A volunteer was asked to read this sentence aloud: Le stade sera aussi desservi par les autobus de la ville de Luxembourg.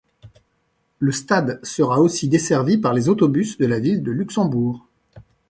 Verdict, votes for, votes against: accepted, 2, 0